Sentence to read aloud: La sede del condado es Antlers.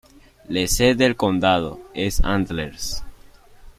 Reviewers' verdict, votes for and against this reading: accepted, 2, 1